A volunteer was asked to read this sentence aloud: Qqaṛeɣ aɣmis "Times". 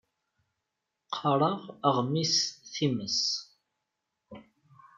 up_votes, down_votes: 1, 2